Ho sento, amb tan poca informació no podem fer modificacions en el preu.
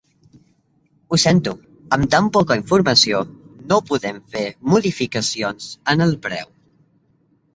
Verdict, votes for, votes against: accepted, 2, 0